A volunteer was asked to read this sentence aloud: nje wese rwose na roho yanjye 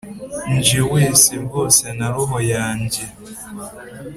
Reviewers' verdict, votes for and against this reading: accepted, 2, 0